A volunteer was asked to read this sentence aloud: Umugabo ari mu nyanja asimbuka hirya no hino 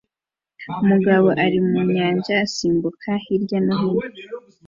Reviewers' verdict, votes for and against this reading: accepted, 2, 0